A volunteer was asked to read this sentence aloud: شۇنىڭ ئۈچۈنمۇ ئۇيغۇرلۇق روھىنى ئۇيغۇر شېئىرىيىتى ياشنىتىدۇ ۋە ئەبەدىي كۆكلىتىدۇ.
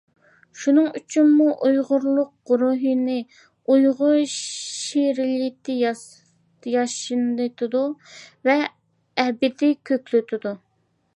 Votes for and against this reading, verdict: 1, 2, rejected